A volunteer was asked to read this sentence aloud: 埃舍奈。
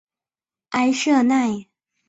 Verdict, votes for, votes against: rejected, 2, 3